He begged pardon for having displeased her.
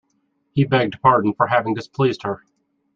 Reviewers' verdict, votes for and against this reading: accepted, 2, 0